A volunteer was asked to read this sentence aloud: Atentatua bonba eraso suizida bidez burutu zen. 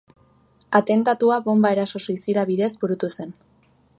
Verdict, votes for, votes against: accepted, 3, 0